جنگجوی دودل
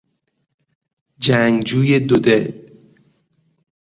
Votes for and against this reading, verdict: 2, 0, accepted